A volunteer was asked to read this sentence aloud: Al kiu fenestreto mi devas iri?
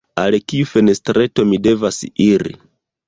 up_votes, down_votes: 0, 2